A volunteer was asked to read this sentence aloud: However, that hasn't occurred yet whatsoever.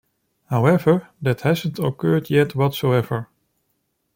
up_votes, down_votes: 2, 0